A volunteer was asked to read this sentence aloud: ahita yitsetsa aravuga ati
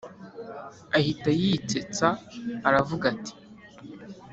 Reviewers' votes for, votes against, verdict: 2, 0, accepted